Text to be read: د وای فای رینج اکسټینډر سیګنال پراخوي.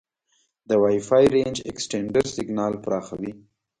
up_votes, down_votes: 2, 1